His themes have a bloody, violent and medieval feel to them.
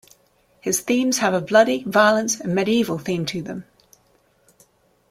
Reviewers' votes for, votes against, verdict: 0, 2, rejected